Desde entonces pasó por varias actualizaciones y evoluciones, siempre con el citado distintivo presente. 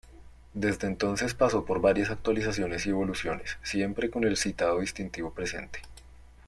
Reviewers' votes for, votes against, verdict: 2, 0, accepted